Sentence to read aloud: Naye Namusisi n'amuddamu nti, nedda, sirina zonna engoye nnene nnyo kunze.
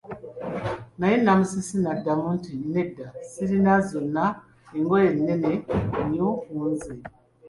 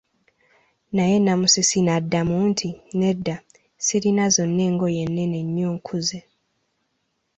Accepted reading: second